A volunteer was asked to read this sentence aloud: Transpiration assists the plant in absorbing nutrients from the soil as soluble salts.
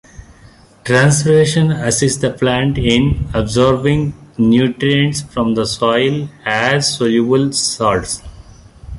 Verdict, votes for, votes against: rejected, 1, 2